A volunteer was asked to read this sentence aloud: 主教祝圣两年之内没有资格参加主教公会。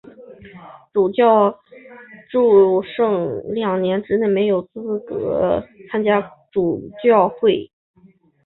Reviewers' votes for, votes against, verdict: 1, 2, rejected